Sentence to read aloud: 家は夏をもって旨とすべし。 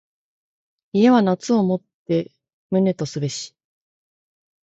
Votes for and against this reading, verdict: 2, 0, accepted